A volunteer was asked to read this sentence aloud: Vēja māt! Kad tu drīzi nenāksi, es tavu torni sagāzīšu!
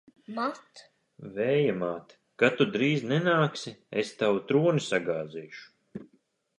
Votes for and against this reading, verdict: 0, 2, rejected